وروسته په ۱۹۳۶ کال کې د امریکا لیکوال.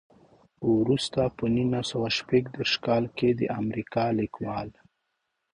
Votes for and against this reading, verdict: 0, 2, rejected